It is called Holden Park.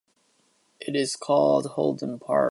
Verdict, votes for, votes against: accepted, 2, 0